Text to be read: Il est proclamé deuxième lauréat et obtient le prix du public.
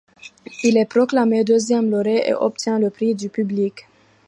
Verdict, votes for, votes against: rejected, 1, 2